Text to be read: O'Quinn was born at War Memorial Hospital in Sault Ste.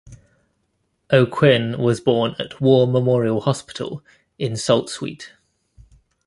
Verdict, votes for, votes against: rejected, 1, 2